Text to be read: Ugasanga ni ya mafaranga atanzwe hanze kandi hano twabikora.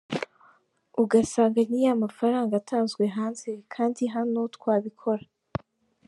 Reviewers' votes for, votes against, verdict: 2, 1, accepted